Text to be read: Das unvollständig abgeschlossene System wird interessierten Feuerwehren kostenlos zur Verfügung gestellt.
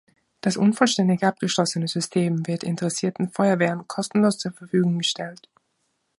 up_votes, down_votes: 1, 2